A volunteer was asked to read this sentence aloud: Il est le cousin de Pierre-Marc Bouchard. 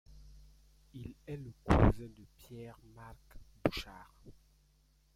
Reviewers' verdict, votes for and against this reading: rejected, 1, 2